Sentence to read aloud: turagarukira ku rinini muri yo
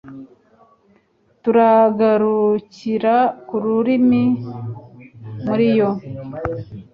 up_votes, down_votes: 1, 2